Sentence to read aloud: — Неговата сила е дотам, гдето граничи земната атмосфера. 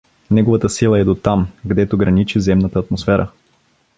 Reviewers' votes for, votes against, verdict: 2, 0, accepted